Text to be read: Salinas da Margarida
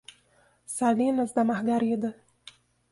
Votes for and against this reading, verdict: 2, 0, accepted